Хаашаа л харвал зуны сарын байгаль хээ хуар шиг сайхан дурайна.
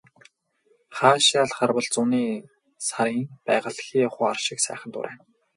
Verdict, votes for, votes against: rejected, 0, 4